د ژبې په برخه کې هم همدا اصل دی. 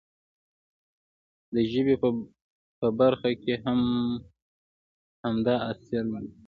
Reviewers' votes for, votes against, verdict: 2, 0, accepted